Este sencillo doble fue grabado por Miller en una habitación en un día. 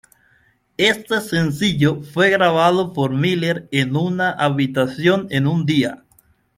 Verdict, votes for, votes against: rejected, 0, 2